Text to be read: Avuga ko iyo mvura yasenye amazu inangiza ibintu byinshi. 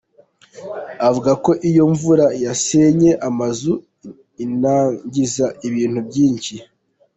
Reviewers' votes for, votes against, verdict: 1, 2, rejected